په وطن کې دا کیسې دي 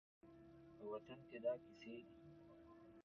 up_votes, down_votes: 0, 2